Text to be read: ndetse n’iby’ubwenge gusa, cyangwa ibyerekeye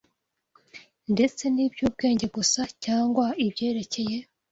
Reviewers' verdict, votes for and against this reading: accepted, 2, 0